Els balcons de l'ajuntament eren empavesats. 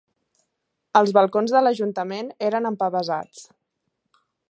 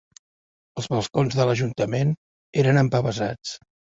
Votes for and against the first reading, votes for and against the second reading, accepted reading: 3, 0, 1, 2, first